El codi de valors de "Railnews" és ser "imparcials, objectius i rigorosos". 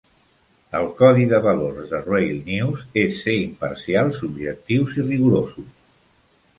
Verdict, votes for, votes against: accepted, 2, 0